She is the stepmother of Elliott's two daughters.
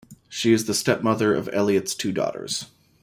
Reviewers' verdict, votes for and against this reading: accepted, 2, 0